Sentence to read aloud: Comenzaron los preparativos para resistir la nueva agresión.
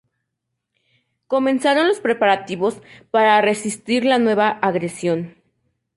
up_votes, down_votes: 0, 2